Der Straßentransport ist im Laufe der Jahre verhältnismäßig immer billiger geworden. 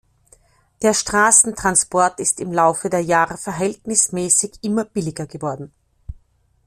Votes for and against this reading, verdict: 2, 0, accepted